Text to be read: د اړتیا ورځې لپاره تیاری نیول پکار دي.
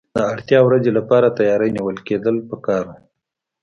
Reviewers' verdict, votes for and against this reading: accepted, 2, 1